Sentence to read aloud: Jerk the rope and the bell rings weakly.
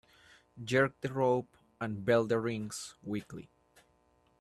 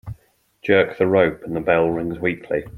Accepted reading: second